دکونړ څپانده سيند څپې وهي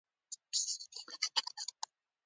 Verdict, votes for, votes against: rejected, 1, 2